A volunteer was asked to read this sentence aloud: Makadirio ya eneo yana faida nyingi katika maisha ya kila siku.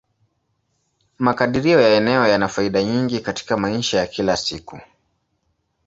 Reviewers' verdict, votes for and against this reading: rejected, 0, 2